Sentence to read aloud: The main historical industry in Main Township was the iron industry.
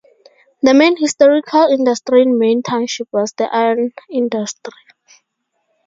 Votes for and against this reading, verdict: 4, 0, accepted